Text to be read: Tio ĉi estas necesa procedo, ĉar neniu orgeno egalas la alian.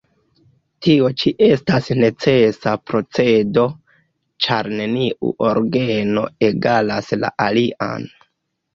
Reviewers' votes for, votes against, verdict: 0, 2, rejected